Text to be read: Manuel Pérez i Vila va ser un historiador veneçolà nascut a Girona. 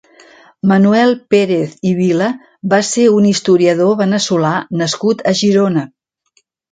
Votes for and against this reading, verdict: 3, 0, accepted